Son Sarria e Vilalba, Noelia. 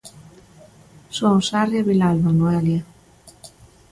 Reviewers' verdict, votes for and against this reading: accepted, 2, 0